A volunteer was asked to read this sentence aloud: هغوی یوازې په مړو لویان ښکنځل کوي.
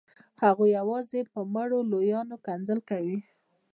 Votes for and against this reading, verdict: 2, 0, accepted